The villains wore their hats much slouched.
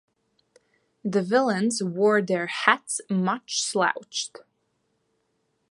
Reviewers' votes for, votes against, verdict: 2, 0, accepted